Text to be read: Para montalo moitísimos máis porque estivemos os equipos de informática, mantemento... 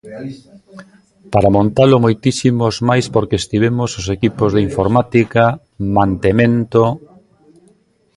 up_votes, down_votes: 0, 2